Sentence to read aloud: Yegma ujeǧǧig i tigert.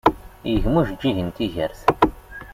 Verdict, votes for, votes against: rejected, 0, 2